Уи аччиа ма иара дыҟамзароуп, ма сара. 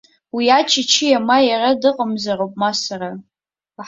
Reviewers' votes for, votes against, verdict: 1, 2, rejected